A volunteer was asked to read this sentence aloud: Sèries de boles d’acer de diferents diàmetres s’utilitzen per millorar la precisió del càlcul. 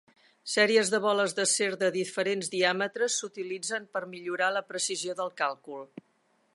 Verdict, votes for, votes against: accepted, 3, 1